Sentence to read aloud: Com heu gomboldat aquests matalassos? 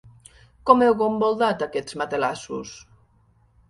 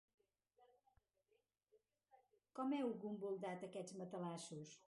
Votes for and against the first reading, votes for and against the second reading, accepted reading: 2, 0, 0, 2, first